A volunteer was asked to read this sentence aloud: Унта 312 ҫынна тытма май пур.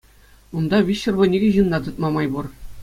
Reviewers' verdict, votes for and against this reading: rejected, 0, 2